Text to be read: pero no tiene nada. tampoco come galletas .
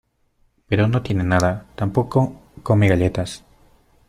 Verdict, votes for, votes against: accepted, 2, 0